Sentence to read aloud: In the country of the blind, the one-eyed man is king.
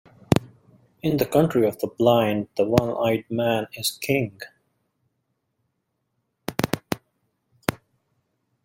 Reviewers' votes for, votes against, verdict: 2, 0, accepted